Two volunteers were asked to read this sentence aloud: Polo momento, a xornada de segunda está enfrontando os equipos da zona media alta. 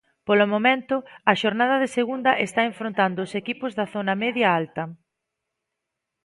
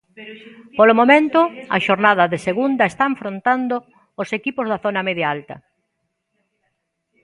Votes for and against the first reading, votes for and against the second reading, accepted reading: 2, 0, 1, 2, first